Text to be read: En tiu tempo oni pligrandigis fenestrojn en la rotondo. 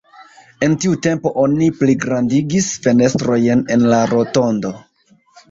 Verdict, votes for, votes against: rejected, 1, 2